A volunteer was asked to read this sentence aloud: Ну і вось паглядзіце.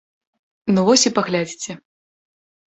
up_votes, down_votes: 1, 2